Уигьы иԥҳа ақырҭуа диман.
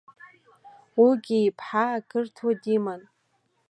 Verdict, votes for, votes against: accepted, 2, 0